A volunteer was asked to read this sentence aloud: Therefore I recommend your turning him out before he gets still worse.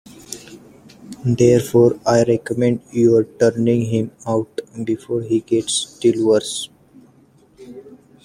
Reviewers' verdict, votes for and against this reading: accepted, 2, 1